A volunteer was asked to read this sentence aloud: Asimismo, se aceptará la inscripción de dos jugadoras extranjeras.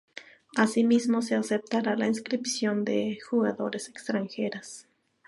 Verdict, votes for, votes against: rejected, 0, 2